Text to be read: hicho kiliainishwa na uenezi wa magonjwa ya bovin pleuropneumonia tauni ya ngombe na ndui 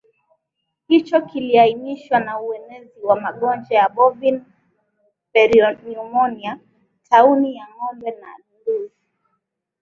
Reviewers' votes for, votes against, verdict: 2, 0, accepted